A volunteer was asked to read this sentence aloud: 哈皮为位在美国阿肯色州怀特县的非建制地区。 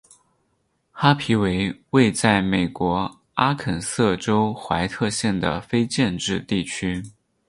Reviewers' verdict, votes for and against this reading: accepted, 6, 0